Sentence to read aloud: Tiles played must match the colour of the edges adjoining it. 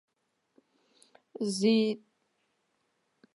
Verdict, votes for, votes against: rejected, 0, 2